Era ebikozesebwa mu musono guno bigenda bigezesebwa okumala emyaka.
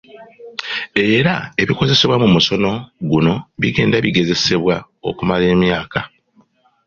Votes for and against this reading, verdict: 2, 0, accepted